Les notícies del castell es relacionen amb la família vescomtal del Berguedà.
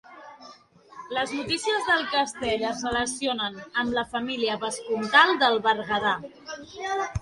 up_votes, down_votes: 3, 0